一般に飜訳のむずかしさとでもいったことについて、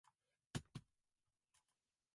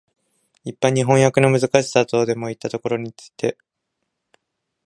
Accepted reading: second